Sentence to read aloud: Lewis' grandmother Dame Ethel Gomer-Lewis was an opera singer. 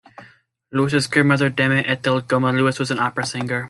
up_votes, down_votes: 2, 1